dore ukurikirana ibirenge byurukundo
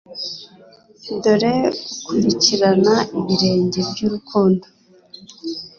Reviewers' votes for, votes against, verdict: 2, 0, accepted